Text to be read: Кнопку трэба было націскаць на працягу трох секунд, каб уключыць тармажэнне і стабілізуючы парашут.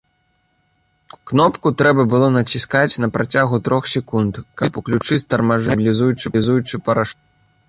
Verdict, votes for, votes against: rejected, 0, 2